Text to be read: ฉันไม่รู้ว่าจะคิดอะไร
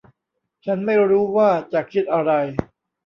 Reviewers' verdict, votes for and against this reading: accepted, 2, 0